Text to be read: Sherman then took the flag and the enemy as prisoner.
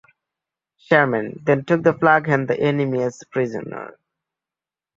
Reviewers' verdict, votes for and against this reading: accepted, 3, 0